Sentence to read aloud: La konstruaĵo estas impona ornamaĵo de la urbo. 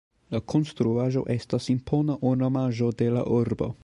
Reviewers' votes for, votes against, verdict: 2, 1, accepted